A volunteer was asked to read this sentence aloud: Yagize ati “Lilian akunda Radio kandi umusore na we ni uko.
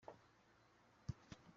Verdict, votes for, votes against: rejected, 0, 2